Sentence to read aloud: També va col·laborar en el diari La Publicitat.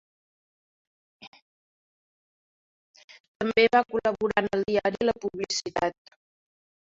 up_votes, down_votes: 1, 2